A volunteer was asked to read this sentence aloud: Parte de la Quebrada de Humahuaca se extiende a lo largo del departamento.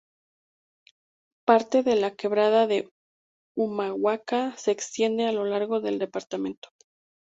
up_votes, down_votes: 2, 0